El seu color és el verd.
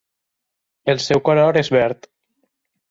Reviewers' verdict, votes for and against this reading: accepted, 4, 0